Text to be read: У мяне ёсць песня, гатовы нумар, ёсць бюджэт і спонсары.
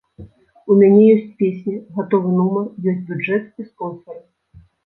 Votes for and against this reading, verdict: 2, 0, accepted